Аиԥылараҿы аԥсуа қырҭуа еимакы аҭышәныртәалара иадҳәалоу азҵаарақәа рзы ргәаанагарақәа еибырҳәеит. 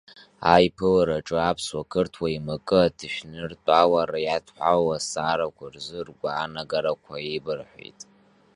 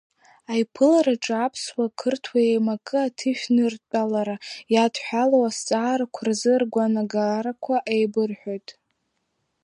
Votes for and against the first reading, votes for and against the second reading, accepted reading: 2, 0, 0, 2, first